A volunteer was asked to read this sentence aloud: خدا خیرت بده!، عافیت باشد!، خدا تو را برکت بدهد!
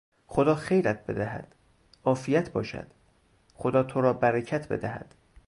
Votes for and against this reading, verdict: 0, 2, rejected